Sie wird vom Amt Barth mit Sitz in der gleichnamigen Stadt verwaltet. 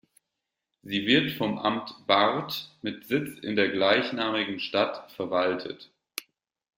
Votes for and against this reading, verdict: 2, 0, accepted